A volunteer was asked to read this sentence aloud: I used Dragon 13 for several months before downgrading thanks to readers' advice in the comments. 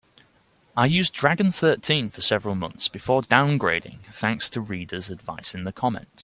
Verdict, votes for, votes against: rejected, 0, 2